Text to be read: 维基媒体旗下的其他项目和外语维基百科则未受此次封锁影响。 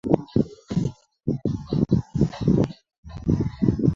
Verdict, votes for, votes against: rejected, 0, 2